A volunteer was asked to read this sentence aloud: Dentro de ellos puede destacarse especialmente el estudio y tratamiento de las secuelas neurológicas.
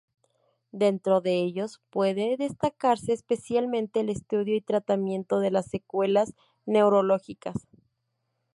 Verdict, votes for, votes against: rejected, 2, 2